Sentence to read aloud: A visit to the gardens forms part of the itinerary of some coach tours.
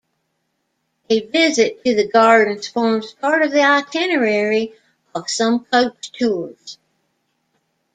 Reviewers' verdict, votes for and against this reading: rejected, 1, 2